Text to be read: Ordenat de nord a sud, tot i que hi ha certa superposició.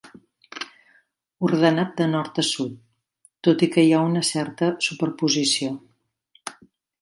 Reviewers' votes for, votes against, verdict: 1, 2, rejected